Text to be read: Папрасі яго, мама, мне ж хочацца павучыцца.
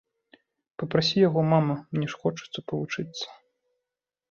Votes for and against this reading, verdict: 2, 0, accepted